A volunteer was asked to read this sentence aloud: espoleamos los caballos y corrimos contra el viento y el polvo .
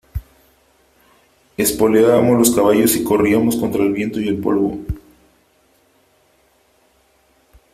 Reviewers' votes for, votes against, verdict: 1, 2, rejected